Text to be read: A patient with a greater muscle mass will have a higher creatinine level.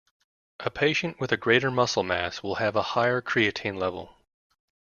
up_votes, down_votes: 0, 2